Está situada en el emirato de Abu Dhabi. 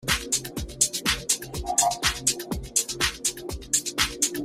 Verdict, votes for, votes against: rejected, 0, 2